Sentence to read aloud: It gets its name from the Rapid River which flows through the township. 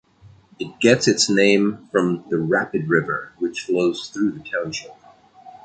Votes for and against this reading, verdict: 2, 0, accepted